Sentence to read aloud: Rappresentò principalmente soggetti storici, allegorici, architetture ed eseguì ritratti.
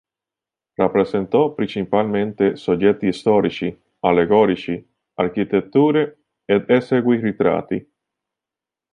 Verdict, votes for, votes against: rejected, 1, 2